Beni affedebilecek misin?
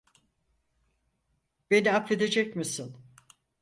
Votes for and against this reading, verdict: 0, 4, rejected